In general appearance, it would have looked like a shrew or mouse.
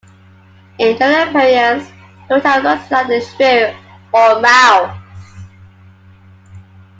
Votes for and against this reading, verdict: 1, 2, rejected